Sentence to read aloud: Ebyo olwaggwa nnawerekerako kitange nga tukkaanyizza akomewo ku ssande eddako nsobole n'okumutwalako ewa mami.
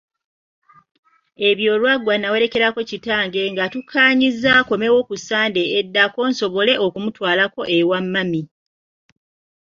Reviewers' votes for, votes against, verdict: 2, 0, accepted